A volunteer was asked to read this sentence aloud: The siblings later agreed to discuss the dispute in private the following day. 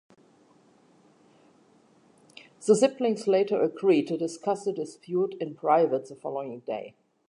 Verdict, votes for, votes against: accepted, 3, 0